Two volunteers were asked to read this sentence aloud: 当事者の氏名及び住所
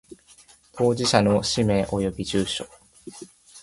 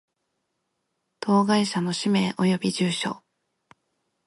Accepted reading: first